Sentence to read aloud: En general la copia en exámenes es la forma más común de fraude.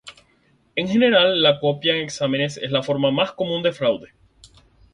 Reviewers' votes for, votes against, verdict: 0, 4, rejected